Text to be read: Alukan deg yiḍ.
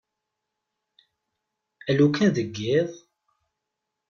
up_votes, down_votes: 2, 1